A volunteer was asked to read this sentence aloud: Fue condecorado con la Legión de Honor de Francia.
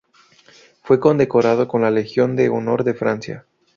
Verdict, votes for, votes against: rejected, 2, 2